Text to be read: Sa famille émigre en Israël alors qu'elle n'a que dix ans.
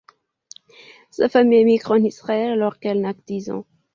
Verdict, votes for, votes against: accepted, 2, 1